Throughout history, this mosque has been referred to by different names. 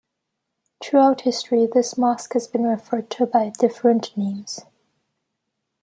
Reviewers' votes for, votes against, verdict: 2, 0, accepted